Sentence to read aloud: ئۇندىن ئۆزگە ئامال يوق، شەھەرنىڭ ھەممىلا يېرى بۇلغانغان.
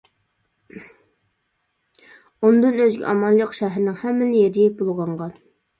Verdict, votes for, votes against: rejected, 1, 2